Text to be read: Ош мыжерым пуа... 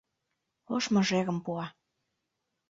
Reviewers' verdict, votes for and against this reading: accepted, 2, 0